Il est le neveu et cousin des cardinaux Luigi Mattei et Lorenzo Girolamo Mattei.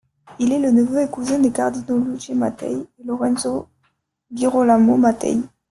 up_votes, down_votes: 2, 1